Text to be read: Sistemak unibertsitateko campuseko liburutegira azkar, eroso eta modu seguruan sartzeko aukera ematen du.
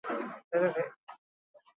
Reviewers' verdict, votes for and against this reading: rejected, 0, 4